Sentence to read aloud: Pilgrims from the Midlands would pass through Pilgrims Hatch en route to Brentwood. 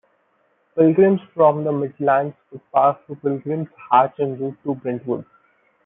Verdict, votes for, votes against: accepted, 2, 0